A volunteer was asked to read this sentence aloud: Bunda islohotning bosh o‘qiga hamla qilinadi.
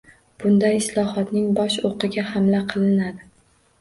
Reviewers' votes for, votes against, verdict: 2, 0, accepted